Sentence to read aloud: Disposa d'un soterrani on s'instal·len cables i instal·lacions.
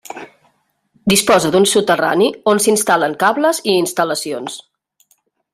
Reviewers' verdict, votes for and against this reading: accepted, 3, 0